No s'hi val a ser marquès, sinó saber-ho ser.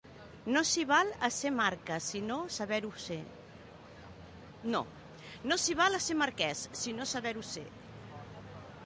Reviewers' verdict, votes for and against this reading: rejected, 1, 2